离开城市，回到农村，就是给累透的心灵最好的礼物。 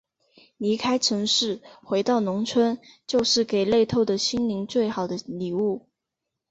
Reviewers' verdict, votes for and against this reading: rejected, 0, 2